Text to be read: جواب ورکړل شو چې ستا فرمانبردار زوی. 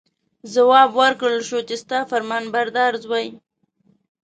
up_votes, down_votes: 2, 0